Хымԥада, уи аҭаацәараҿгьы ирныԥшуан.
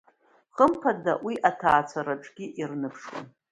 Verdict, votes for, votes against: accepted, 2, 0